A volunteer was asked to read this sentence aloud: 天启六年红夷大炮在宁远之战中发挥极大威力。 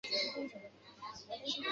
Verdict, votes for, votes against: rejected, 2, 5